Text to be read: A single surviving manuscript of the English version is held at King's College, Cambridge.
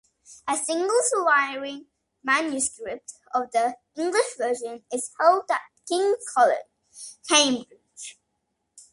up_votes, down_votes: 2, 1